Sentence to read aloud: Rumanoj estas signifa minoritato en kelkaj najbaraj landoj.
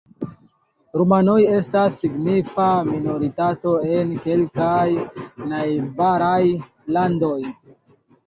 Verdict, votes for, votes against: rejected, 0, 2